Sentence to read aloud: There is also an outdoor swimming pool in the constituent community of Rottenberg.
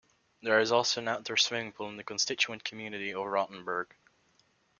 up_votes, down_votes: 2, 0